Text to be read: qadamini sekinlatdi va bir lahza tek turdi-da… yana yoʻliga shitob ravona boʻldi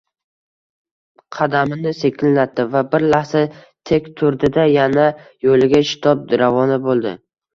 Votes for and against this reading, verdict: 1, 2, rejected